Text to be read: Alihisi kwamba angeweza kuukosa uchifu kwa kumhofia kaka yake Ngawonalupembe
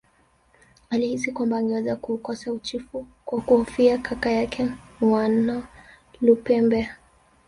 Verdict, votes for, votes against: rejected, 1, 2